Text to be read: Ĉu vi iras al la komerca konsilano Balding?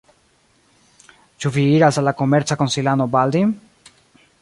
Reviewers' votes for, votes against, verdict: 1, 4, rejected